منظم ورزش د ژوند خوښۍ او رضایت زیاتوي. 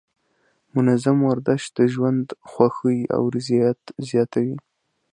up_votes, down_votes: 2, 0